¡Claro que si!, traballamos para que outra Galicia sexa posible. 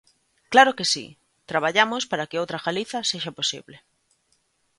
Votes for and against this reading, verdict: 1, 2, rejected